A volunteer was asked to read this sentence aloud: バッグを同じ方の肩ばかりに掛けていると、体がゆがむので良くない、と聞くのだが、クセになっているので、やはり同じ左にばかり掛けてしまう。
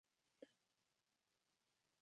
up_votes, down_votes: 0, 2